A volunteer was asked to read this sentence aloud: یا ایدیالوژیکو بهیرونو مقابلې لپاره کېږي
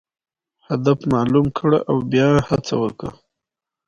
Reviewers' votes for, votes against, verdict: 2, 1, accepted